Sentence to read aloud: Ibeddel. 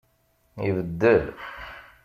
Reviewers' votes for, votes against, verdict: 2, 0, accepted